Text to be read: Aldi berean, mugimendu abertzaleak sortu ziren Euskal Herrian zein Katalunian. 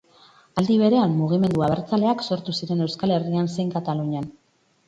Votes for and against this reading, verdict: 2, 2, rejected